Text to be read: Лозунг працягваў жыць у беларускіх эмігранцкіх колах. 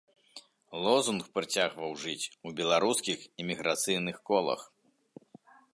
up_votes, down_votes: 0, 2